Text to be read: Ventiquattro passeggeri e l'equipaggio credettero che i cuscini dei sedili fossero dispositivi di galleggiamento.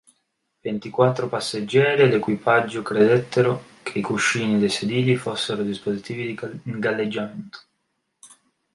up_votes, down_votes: 1, 2